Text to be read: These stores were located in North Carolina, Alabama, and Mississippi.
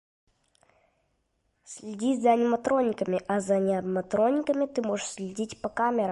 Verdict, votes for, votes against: rejected, 0, 2